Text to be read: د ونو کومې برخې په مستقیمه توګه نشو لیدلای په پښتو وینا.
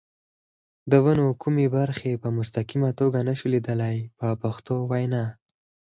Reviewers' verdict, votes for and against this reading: accepted, 4, 2